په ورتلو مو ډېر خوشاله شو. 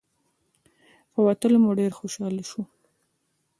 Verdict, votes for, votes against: accepted, 2, 0